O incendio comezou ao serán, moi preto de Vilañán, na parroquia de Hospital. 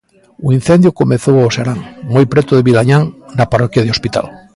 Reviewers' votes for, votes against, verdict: 2, 1, accepted